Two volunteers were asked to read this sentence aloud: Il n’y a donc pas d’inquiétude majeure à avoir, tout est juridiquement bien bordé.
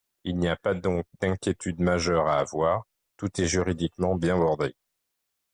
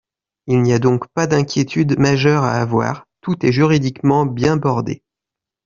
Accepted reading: second